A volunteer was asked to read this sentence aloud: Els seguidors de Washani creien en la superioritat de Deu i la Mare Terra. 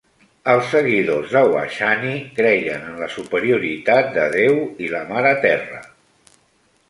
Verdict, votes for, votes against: accepted, 2, 1